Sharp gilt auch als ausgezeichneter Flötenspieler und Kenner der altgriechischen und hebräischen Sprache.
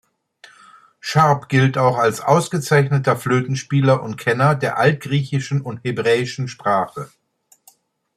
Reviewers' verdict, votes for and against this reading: accepted, 2, 0